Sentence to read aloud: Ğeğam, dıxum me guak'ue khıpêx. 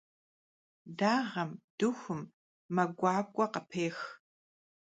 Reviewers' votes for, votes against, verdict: 0, 2, rejected